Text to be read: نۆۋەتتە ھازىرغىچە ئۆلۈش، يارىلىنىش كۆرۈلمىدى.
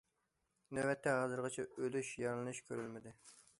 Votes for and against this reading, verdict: 2, 0, accepted